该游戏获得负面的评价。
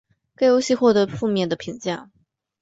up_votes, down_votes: 3, 1